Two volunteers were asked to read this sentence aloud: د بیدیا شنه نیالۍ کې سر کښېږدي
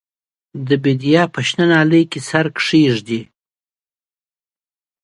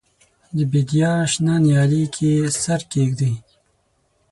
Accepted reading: first